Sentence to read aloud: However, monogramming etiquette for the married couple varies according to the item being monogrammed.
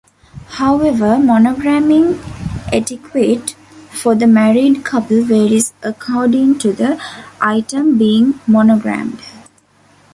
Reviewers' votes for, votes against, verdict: 0, 2, rejected